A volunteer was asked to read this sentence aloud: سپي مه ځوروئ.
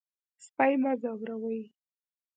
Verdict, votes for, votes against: accepted, 2, 0